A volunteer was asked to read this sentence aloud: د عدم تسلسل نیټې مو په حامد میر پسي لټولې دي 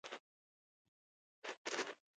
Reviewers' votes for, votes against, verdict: 0, 2, rejected